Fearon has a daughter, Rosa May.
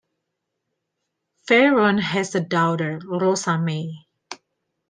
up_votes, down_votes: 2, 0